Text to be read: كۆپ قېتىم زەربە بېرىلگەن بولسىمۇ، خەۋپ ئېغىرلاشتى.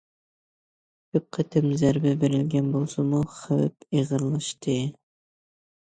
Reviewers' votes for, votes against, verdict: 2, 1, accepted